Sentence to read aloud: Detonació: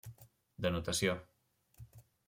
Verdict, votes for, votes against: rejected, 0, 2